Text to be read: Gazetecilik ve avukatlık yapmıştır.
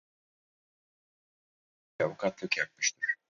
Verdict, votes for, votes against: rejected, 0, 4